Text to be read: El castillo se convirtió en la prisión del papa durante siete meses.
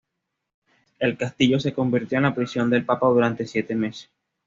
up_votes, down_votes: 2, 0